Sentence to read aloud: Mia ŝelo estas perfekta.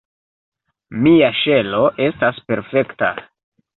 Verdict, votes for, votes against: accepted, 2, 0